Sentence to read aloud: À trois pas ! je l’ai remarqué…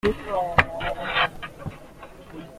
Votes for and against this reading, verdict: 0, 2, rejected